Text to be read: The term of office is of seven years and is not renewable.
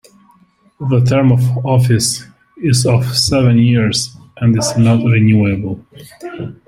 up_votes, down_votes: 2, 0